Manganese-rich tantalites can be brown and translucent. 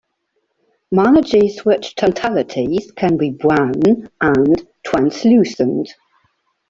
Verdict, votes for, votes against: rejected, 0, 2